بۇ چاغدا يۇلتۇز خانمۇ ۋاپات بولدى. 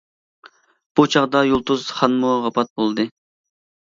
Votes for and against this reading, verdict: 2, 0, accepted